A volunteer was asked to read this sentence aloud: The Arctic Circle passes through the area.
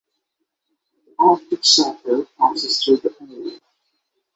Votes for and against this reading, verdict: 0, 3, rejected